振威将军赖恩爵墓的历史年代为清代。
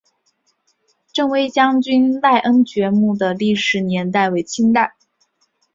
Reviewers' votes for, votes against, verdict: 4, 0, accepted